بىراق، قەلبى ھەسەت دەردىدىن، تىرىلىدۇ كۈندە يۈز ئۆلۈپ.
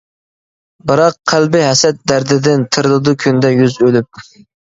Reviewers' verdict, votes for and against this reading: accepted, 3, 0